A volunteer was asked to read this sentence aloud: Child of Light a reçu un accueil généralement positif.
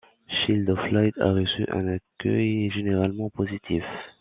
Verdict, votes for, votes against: rejected, 1, 2